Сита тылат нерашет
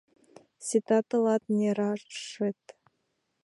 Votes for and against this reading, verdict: 2, 0, accepted